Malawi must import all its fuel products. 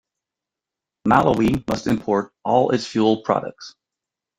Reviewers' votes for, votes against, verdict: 1, 2, rejected